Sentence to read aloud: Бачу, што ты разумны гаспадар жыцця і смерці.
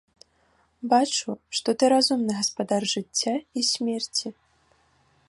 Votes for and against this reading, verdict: 2, 0, accepted